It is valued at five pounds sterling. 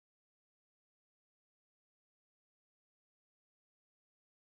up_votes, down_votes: 0, 10